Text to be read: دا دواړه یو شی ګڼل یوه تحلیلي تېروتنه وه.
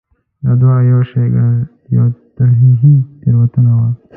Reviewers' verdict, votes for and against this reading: rejected, 1, 2